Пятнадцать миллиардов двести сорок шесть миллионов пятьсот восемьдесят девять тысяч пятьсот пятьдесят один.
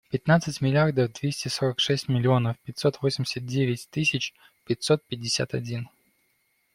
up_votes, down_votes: 2, 0